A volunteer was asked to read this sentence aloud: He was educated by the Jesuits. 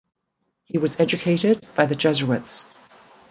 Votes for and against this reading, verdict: 2, 0, accepted